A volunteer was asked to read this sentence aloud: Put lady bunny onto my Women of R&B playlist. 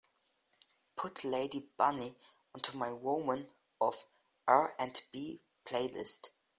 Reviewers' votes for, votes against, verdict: 2, 0, accepted